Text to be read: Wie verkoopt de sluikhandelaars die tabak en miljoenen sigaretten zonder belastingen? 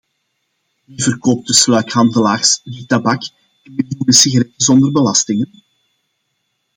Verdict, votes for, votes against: accepted, 2, 1